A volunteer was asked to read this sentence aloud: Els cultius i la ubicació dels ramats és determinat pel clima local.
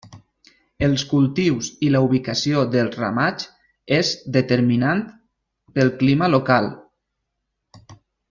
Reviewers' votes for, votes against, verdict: 1, 2, rejected